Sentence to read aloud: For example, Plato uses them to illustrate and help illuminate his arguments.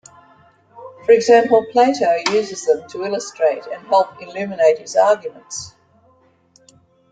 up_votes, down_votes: 3, 0